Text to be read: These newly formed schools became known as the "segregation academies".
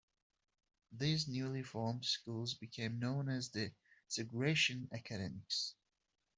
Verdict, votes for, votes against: rejected, 0, 2